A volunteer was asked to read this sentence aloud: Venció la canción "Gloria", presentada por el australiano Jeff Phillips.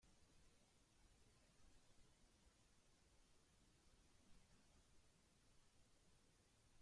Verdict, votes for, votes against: rejected, 0, 2